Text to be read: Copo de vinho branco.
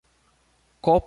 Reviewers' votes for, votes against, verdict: 0, 2, rejected